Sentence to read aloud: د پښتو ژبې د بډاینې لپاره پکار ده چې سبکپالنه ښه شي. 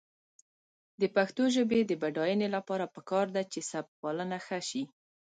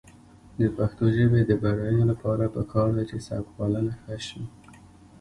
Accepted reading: second